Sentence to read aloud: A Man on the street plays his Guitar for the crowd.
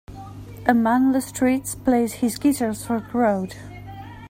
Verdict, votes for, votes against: rejected, 0, 2